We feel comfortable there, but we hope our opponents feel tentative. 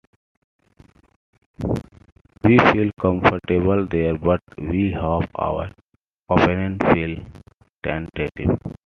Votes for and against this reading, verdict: 2, 0, accepted